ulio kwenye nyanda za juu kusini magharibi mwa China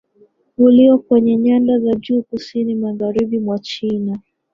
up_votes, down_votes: 18, 3